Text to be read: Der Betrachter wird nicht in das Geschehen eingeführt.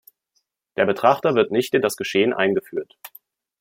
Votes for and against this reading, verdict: 2, 0, accepted